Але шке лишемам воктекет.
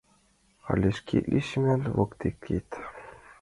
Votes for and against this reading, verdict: 0, 2, rejected